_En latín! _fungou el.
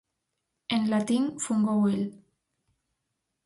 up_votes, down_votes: 4, 0